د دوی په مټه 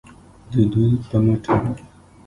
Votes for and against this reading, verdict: 2, 0, accepted